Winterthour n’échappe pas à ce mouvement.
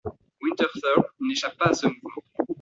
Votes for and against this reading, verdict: 1, 2, rejected